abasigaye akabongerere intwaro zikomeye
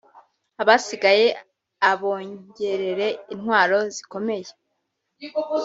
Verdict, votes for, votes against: rejected, 2, 3